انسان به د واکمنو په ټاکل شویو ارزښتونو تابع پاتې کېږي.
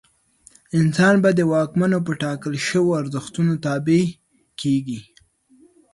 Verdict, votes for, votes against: rejected, 0, 2